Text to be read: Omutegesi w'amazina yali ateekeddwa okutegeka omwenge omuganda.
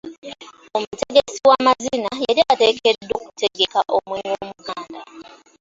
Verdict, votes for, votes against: rejected, 0, 2